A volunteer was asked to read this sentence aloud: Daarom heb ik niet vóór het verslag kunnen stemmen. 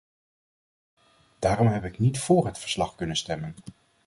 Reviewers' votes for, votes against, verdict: 2, 0, accepted